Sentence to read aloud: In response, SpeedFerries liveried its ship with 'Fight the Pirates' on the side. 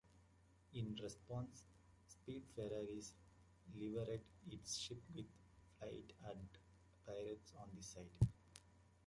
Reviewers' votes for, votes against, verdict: 0, 2, rejected